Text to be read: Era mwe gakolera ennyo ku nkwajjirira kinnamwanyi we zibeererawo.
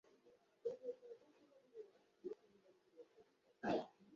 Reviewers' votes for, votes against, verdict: 0, 3, rejected